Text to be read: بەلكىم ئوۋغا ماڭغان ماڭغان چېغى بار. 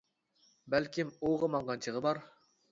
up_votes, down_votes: 0, 2